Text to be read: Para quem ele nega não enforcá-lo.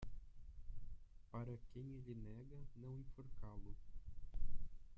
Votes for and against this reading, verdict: 1, 2, rejected